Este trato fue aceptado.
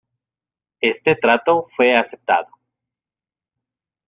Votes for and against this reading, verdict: 2, 0, accepted